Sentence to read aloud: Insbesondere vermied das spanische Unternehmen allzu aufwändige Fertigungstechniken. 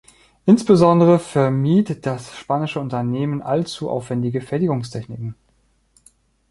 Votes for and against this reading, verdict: 2, 1, accepted